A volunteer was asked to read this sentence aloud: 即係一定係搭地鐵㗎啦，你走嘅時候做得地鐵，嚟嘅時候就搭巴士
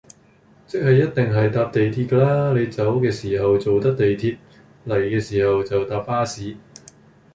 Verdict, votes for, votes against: accepted, 2, 1